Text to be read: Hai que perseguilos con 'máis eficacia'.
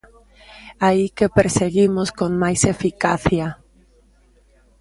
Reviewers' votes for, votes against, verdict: 0, 2, rejected